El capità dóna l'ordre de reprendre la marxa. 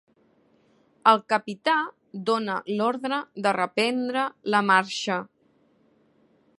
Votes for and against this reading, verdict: 3, 0, accepted